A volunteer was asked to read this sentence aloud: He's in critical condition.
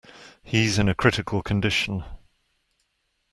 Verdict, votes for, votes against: rejected, 1, 2